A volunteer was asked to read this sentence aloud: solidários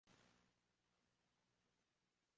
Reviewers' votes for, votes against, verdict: 0, 2, rejected